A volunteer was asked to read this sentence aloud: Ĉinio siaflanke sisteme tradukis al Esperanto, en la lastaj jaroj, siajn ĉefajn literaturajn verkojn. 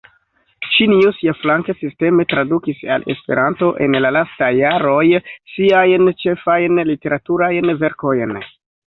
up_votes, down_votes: 1, 2